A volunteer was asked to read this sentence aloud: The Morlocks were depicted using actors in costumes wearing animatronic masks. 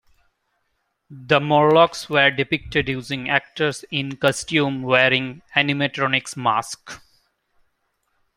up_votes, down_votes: 0, 2